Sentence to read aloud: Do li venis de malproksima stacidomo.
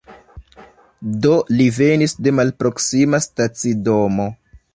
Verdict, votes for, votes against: accepted, 2, 1